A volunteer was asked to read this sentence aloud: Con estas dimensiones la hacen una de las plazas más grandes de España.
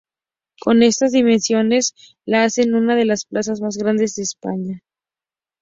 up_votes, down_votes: 4, 0